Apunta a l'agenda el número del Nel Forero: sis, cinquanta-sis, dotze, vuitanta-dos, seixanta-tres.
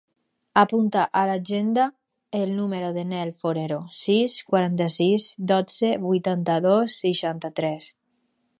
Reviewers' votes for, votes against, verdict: 0, 2, rejected